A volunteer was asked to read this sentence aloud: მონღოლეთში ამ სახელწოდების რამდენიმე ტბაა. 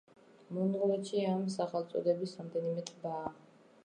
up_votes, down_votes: 1, 2